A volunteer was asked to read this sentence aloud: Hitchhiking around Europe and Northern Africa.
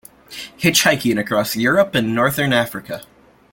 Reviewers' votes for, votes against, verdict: 0, 2, rejected